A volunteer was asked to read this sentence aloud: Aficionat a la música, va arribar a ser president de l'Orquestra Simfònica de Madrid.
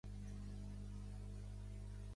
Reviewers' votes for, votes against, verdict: 0, 2, rejected